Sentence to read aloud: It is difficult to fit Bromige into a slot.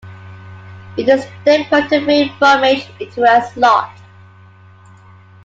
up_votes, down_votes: 0, 2